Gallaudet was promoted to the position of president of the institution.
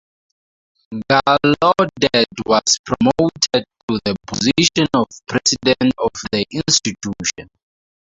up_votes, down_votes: 0, 4